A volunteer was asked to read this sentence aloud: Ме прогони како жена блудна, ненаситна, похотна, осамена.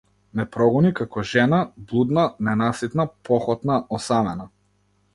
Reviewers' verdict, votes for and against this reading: accepted, 2, 0